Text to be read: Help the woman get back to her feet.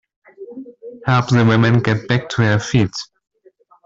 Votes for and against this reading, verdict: 0, 2, rejected